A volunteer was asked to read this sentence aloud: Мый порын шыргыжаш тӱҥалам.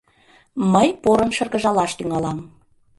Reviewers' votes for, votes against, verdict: 0, 2, rejected